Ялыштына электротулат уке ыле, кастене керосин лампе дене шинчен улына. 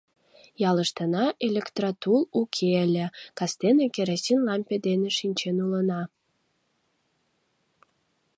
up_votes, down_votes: 0, 2